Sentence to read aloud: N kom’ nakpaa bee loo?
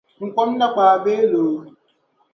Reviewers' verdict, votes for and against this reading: rejected, 1, 2